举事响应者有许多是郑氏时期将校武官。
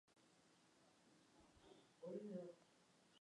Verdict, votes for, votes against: rejected, 1, 2